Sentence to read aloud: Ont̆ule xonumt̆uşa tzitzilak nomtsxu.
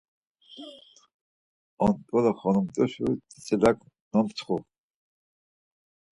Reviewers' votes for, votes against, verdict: 4, 0, accepted